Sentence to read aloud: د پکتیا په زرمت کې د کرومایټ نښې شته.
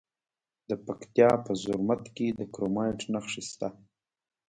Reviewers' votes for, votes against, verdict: 2, 1, accepted